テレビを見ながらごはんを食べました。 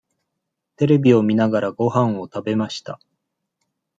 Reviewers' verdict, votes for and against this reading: accepted, 2, 0